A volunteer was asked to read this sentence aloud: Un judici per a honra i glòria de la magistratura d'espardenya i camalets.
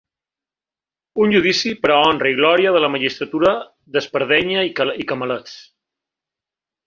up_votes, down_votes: 0, 2